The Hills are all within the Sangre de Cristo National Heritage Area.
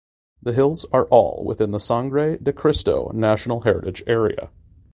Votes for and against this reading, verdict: 2, 0, accepted